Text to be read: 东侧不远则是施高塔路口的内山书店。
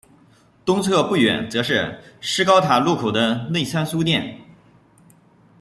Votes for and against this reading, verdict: 1, 2, rejected